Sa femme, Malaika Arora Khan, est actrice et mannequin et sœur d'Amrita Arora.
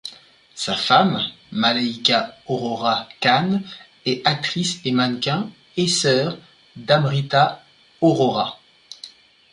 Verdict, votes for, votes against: rejected, 0, 2